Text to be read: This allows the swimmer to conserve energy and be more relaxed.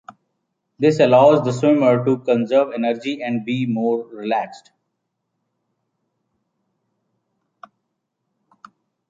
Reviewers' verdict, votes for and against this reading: accepted, 2, 0